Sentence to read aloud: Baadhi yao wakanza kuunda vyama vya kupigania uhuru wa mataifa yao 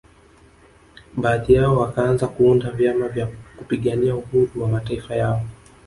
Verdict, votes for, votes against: accepted, 2, 0